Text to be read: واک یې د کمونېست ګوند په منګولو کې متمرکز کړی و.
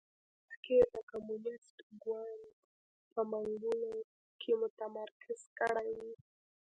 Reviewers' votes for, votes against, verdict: 0, 2, rejected